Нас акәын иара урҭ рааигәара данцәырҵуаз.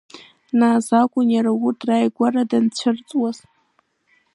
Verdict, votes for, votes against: rejected, 1, 2